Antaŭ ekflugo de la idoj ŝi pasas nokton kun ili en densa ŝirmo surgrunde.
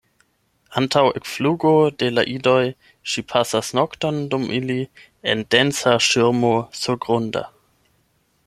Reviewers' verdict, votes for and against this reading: rejected, 0, 8